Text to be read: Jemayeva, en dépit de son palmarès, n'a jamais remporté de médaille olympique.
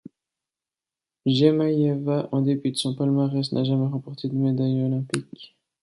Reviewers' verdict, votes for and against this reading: accepted, 2, 0